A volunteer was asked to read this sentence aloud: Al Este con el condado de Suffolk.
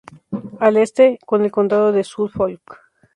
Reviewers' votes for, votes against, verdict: 2, 0, accepted